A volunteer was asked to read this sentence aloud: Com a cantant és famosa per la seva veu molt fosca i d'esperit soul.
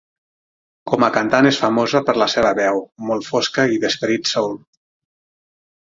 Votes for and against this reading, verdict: 6, 0, accepted